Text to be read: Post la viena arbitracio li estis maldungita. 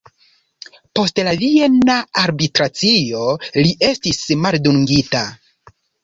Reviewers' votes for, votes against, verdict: 1, 2, rejected